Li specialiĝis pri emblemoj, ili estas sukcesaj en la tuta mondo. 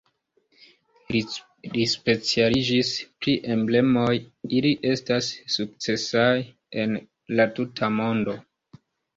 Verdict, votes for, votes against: accepted, 2, 1